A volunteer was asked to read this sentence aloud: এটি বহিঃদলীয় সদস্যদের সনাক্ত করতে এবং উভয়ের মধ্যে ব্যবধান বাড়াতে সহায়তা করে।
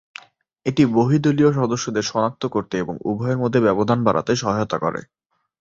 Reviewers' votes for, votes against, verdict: 2, 0, accepted